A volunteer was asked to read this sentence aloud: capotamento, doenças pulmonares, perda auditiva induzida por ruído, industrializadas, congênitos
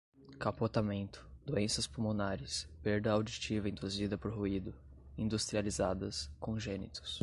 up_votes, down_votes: 2, 0